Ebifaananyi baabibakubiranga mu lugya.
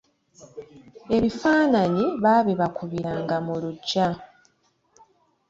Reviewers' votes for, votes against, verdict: 2, 0, accepted